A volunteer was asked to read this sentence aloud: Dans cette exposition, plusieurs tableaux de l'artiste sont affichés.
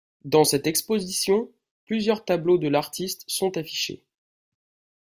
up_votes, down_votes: 2, 0